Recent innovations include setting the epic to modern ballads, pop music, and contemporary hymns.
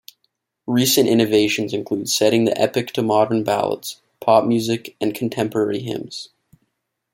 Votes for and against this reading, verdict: 2, 0, accepted